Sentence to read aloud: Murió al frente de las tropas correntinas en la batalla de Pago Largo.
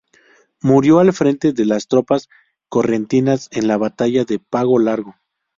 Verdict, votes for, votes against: accepted, 4, 0